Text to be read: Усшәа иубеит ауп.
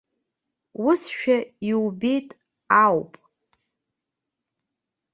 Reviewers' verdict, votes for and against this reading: accepted, 3, 0